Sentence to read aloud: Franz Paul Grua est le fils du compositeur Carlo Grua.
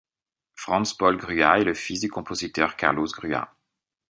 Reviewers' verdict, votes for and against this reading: rejected, 1, 2